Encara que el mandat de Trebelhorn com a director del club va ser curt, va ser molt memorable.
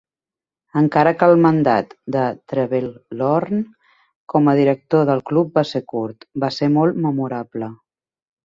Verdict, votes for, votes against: accepted, 2, 0